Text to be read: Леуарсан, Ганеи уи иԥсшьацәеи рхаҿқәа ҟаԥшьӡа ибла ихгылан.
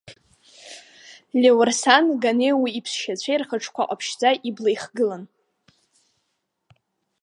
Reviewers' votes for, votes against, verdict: 4, 0, accepted